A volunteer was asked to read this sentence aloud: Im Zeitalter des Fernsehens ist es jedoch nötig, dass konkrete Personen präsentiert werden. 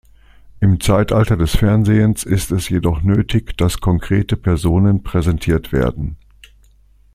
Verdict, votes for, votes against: accepted, 2, 0